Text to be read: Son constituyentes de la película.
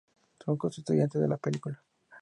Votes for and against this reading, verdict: 2, 0, accepted